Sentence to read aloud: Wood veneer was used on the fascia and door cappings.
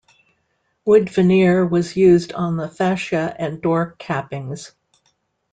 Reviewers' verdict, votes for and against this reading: rejected, 1, 2